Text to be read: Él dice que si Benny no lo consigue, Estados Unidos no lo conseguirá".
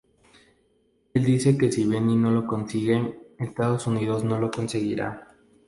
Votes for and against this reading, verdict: 0, 2, rejected